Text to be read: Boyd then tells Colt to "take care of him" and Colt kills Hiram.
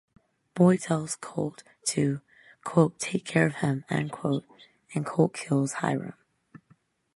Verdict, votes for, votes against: rejected, 0, 2